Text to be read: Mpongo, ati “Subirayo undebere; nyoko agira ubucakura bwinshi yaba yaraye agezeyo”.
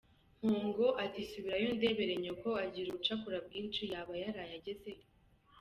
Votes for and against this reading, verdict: 0, 2, rejected